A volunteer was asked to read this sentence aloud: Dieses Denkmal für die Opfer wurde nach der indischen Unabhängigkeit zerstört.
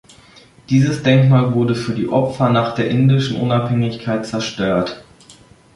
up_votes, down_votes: 1, 2